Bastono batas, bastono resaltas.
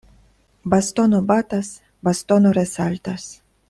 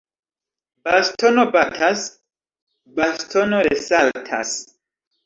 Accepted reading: first